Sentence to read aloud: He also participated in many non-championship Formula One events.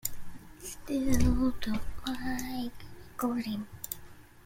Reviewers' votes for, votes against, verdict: 0, 2, rejected